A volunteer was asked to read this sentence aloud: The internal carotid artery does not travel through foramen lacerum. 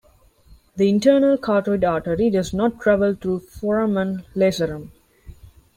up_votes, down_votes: 2, 3